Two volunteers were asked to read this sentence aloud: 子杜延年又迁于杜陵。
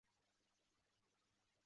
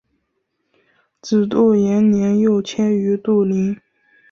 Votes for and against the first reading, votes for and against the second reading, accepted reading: 0, 2, 2, 0, second